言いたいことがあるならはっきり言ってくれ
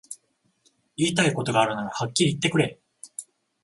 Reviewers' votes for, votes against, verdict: 14, 0, accepted